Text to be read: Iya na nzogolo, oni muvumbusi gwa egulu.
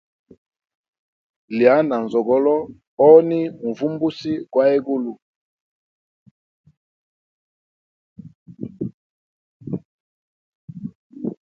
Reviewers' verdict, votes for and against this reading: rejected, 0, 2